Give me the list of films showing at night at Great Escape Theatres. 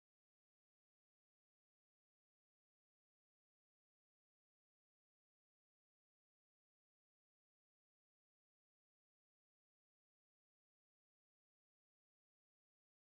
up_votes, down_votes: 0, 2